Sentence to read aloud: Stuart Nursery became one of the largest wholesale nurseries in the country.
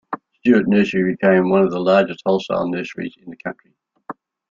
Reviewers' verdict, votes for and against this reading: rejected, 0, 2